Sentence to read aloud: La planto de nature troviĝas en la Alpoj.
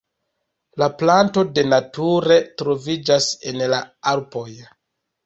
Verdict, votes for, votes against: rejected, 1, 2